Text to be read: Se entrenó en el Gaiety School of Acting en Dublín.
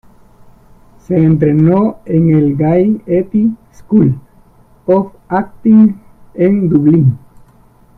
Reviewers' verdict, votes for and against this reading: rejected, 0, 2